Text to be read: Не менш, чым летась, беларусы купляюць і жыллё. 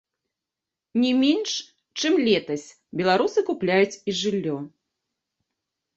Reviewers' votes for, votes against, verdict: 0, 2, rejected